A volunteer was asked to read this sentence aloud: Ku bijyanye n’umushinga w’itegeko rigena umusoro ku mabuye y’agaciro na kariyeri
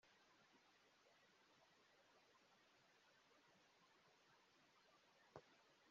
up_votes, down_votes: 0, 2